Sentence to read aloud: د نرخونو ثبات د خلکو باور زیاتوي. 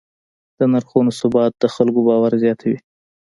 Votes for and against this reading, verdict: 1, 2, rejected